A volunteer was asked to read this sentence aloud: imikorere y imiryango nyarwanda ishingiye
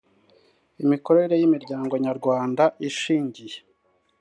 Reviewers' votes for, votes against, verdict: 3, 0, accepted